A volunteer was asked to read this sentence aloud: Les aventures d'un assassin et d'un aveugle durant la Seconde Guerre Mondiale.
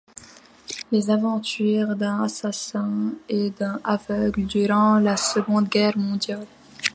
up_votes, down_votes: 1, 2